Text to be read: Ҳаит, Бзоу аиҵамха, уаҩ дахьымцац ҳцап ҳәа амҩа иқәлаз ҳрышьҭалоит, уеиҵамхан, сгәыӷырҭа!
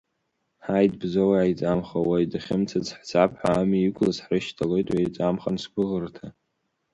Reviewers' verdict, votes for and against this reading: accepted, 2, 1